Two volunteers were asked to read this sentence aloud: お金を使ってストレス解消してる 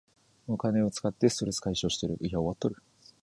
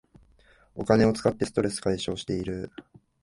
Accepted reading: second